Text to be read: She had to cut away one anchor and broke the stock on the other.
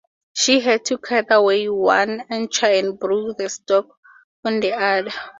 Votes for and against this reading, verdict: 2, 2, rejected